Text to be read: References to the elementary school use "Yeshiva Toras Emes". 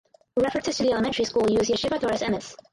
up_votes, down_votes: 2, 4